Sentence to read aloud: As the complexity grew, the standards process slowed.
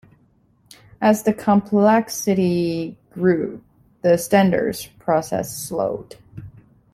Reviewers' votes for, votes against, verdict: 2, 0, accepted